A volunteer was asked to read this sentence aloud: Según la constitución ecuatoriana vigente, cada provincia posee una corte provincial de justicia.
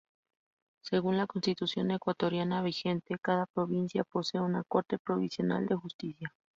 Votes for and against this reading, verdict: 2, 4, rejected